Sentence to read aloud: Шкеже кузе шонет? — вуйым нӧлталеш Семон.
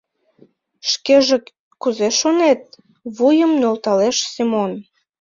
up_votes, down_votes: 3, 0